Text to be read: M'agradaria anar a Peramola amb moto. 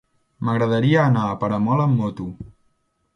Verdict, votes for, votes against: accepted, 2, 0